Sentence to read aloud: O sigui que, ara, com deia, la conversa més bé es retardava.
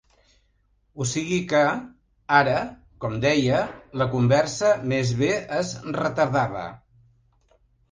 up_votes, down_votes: 2, 0